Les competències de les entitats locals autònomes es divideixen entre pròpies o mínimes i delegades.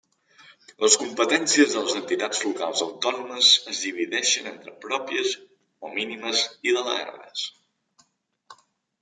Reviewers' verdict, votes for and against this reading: rejected, 1, 2